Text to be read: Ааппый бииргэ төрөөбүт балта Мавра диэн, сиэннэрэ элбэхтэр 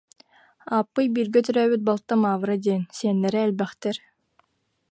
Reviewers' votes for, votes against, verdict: 2, 0, accepted